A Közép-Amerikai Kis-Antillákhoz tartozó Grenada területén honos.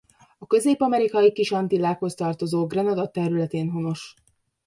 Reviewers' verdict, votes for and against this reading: accepted, 2, 0